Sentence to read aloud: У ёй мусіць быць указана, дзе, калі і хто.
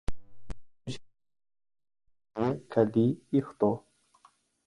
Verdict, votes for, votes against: rejected, 0, 3